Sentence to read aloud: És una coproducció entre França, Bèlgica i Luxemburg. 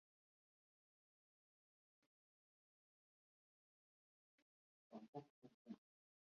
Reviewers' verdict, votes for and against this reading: rejected, 0, 2